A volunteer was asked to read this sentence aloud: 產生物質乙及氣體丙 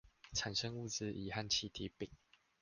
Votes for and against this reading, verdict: 0, 2, rejected